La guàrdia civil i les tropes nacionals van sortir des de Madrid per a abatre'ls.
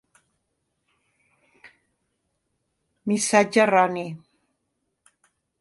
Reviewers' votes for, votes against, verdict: 0, 2, rejected